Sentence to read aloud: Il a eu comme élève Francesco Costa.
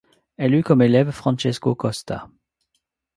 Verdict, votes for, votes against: rejected, 0, 2